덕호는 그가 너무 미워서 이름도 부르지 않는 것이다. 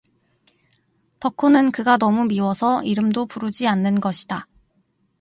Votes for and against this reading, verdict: 4, 0, accepted